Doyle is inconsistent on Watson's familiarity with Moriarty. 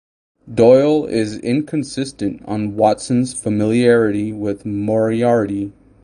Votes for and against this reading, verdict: 4, 4, rejected